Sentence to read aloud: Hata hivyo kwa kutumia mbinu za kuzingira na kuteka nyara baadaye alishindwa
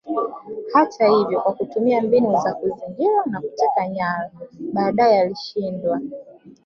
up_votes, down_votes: 1, 2